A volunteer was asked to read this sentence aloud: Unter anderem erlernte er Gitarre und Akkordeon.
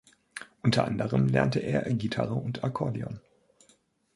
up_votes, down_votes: 1, 2